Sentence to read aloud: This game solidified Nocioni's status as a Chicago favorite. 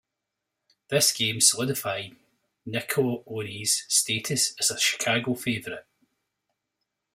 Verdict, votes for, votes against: rejected, 1, 2